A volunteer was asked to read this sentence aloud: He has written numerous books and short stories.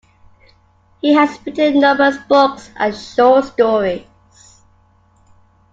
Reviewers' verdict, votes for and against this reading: accepted, 2, 0